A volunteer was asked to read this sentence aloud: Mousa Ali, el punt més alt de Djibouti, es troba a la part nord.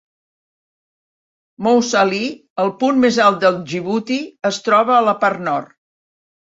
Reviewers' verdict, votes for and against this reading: accepted, 2, 0